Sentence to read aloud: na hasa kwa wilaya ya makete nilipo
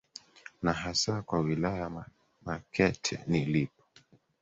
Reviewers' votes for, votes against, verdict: 0, 2, rejected